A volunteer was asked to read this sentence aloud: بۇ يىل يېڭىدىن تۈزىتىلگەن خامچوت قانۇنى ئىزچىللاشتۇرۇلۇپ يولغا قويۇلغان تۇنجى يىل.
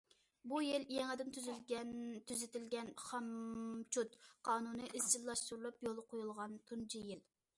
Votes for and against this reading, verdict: 0, 2, rejected